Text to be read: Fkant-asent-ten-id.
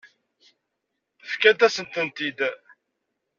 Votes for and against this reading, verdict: 1, 2, rejected